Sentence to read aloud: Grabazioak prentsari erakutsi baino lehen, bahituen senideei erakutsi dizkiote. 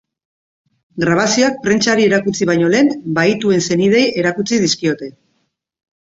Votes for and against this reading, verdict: 2, 0, accepted